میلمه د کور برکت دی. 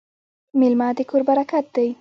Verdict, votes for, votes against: rejected, 0, 2